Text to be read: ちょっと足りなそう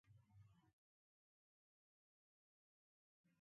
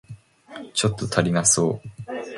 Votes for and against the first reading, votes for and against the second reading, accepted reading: 0, 2, 3, 0, second